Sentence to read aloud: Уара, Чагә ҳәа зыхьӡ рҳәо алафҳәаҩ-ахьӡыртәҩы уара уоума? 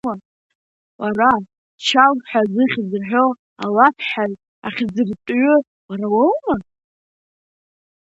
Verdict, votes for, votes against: accepted, 2, 0